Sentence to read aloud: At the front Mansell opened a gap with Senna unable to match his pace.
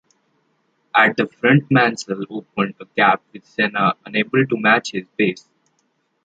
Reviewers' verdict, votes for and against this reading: rejected, 1, 2